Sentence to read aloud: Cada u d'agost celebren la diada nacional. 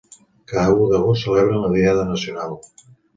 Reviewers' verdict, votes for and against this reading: accepted, 2, 1